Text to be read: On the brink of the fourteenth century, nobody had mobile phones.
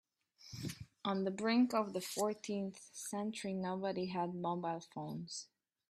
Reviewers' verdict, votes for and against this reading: accepted, 2, 0